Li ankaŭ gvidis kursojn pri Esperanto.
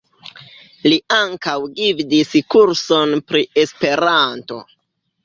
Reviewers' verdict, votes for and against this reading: rejected, 1, 2